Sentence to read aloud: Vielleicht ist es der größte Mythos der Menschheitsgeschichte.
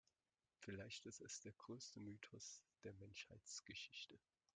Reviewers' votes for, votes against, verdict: 0, 2, rejected